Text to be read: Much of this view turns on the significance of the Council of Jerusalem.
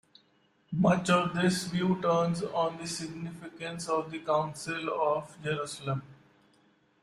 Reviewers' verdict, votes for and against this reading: accepted, 2, 0